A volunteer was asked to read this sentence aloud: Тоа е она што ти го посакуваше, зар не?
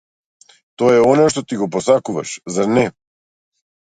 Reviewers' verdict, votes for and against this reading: rejected, 1, 2